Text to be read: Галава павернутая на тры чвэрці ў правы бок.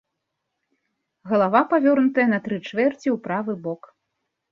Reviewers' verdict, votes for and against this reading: rejected, 0, 2